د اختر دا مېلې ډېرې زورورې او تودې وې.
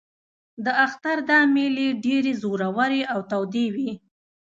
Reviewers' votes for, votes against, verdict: 3, 0, accepted